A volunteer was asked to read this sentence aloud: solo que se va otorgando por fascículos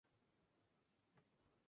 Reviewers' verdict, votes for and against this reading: rejected, 0, 2